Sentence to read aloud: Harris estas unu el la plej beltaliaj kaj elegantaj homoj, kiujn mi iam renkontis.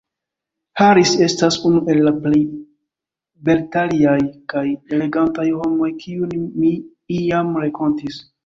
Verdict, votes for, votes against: rejected, 0, 2